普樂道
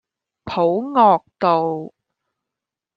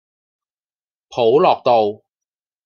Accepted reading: second